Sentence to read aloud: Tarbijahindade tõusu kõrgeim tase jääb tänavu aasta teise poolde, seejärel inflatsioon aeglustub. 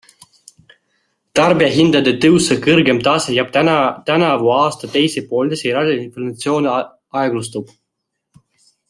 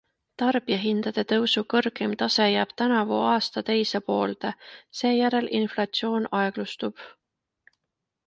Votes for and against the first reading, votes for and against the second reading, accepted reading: 0, 2, 2, 0, second